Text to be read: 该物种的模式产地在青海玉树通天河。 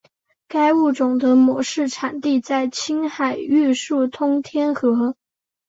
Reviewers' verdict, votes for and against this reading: accepted, 2, 0